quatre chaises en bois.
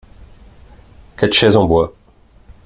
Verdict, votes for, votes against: accepted, 2, 0